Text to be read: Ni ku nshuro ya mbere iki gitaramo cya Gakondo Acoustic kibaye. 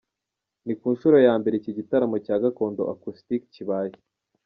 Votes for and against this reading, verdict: 0, 2, rejected